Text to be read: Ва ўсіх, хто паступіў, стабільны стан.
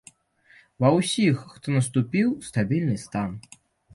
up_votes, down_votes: 0, 2